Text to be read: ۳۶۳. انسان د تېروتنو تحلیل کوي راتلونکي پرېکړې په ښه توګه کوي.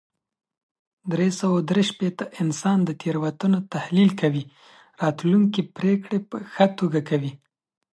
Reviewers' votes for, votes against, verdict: 0, 2, rejected